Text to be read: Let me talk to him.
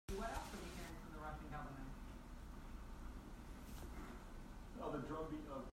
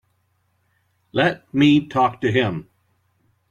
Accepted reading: second